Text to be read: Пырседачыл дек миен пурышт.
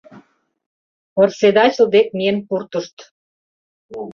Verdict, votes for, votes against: rejected, 1, 2